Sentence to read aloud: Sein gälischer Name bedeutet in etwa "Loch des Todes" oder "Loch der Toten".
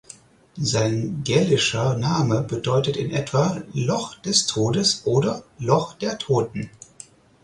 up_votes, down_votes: 4, 0